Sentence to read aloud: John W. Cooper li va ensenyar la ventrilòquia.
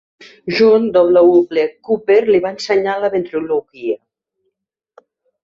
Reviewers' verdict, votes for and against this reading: accepted, 2, 1